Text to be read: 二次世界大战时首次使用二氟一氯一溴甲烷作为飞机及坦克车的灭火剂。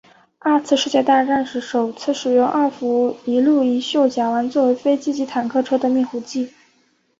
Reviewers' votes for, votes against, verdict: 4, 1, accepted